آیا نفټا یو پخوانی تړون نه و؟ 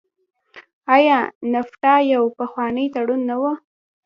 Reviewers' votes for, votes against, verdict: 0, 2, rejected